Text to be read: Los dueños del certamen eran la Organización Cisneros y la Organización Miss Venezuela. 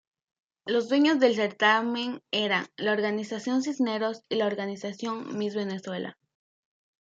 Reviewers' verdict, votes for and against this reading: accepted, 2, 0